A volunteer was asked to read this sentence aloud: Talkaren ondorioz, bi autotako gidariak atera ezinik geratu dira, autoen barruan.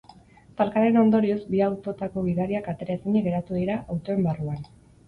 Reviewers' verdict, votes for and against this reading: accepted, 4, 0